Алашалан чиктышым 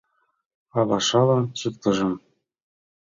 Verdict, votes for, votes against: rejected, 1, 2